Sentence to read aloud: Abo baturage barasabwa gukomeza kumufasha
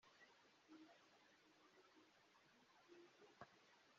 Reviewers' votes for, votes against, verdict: 0, 2, rejected